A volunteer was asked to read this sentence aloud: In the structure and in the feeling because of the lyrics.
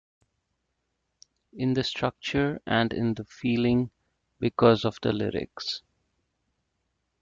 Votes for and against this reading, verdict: 2, 0, accepted